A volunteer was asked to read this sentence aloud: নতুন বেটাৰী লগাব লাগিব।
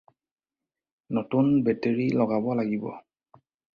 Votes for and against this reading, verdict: 4, 0, accepted